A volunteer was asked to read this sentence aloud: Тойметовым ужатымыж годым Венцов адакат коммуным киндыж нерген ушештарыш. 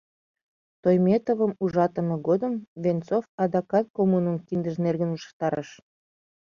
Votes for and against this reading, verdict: 1, 2, rejected